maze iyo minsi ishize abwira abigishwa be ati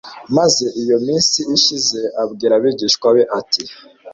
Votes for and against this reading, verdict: 2, 0, accepted